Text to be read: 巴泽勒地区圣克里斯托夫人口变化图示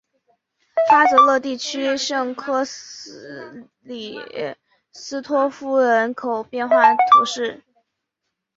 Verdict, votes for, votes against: rejected, 2, 3